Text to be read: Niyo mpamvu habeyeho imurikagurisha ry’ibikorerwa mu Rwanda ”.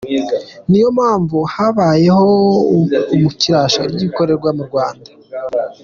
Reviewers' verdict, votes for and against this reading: rejected, 1, 2